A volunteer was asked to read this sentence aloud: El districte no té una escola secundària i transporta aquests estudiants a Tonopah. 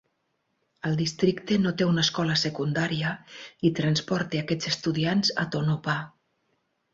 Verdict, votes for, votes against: accepted, 6, 0